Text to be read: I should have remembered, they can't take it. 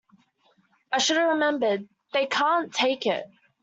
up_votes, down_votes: 2, 0